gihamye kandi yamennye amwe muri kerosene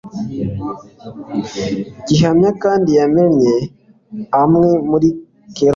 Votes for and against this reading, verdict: 1, 2, rejected